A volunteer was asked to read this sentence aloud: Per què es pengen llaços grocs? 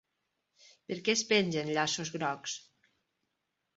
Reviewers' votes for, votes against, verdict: 4, 0, accepted